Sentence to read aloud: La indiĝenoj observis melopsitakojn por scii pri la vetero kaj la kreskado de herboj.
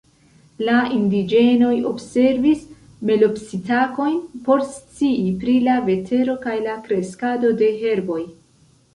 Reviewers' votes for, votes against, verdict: 2, 0, accepted